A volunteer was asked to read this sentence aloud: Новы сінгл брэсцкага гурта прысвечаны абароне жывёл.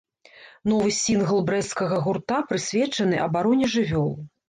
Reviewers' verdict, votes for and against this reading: accepted, 2, 0